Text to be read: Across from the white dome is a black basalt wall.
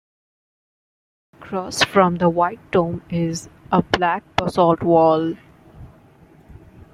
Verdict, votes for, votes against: rejected, 0, 2